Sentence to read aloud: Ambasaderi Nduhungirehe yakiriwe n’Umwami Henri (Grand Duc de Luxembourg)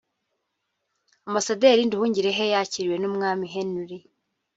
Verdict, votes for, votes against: rejected, 0, 2